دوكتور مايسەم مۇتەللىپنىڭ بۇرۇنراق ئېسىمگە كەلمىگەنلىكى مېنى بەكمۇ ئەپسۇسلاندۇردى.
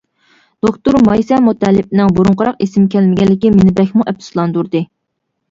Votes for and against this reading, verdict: 0, 2, rejected